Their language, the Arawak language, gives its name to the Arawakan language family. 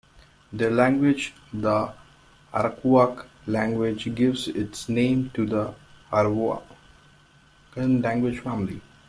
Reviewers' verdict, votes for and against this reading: rejected, 0, 2